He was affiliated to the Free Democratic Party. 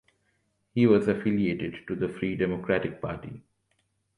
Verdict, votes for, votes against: accepted, 2, 0